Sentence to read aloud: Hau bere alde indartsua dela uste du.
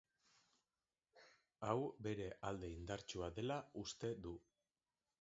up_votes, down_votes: 3, 0